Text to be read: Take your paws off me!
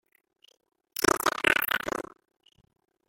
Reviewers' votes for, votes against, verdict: 0, 3, rejected